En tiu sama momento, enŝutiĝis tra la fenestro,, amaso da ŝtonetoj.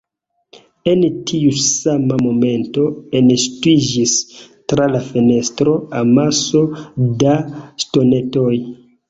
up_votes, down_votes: 1, 2